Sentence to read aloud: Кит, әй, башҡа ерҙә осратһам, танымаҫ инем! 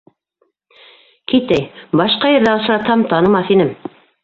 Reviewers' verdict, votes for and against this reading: accepted, 2, 0